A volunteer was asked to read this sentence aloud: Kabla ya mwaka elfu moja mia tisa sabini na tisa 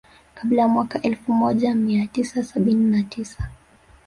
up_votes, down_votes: 1, 2